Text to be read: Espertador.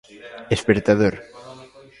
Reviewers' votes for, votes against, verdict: 1, 2, rejected